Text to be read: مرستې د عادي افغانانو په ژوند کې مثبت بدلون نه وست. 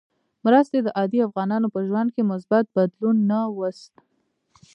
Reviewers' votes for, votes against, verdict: 0, 2, rejected